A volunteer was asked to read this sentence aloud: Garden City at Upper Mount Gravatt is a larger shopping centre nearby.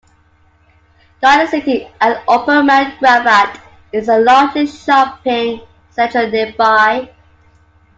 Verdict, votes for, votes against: rejected, 0, 2